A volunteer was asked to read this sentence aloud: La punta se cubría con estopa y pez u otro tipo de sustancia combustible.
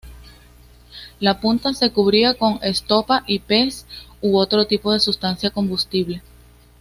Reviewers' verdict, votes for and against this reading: accepted, 2, 0